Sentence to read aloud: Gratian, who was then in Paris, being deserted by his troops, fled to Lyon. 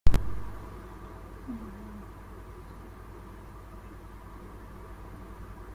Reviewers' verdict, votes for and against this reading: rejected, 0, 2